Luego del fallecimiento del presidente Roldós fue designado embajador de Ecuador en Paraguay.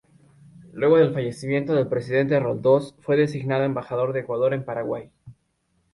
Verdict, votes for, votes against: accepted, 2, 0